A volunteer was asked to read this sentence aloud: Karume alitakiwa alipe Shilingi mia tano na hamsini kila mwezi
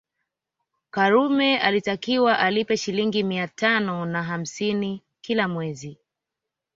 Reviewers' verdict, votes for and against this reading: accepted, 2, 1